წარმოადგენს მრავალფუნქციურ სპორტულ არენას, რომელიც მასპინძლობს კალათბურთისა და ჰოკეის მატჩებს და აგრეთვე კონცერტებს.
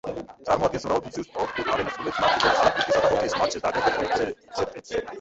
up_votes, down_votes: 0, 2